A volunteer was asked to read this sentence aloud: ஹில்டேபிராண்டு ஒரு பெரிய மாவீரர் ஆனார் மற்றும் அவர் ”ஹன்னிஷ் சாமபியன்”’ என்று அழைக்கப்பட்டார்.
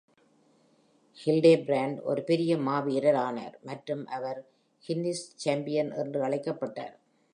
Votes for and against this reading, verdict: 1, 3, rejected